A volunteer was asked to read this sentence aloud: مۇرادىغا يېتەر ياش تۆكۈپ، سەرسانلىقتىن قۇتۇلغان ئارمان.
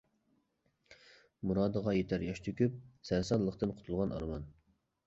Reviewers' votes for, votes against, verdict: 2, 0, accepted